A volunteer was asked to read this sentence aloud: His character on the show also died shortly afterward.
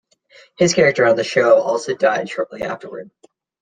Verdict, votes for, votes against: accepted, 2, 0